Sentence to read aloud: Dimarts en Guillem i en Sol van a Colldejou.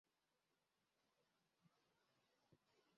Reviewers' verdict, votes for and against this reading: rejected, 1, 2